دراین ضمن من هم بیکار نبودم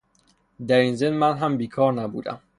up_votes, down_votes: 3, 0